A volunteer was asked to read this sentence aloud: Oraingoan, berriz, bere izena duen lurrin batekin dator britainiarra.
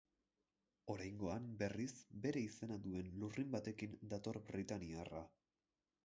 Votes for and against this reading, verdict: 4, 0, accepted